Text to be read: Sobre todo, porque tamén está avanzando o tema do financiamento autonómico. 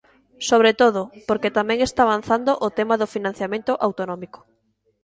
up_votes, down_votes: 2, 0